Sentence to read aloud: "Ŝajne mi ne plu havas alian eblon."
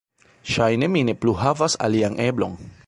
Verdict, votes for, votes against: accepted, 2, 1